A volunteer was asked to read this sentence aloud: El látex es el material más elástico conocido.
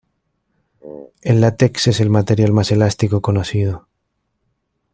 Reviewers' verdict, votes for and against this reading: rejected, 1, 2